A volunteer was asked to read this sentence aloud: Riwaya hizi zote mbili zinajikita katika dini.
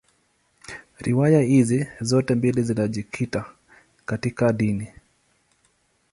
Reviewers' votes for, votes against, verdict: 2, 0, accepted